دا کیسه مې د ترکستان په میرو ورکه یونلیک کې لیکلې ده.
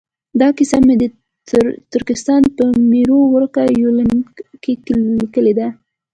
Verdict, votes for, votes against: accepted, 2, 0